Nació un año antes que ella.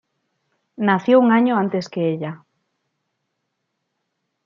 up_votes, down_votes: 2, 0